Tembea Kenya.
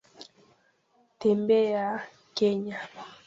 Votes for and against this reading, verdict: 2, 1, accepted